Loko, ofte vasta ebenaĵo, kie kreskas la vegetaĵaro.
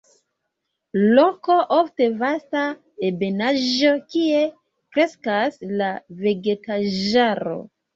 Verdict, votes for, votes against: accepted, 2, 1